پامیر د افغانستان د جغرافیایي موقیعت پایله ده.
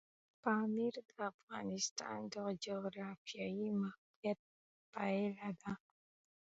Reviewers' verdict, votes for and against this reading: accepted, 2, 0